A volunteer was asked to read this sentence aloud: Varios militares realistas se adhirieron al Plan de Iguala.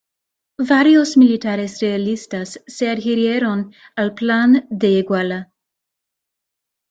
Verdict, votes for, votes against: accepted, 2, 0